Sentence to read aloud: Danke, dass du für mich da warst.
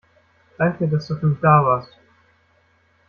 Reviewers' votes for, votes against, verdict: 2, 1, accepted